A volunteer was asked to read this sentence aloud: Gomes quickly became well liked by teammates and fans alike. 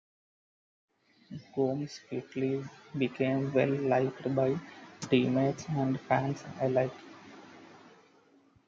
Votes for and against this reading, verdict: 0, 2, rejected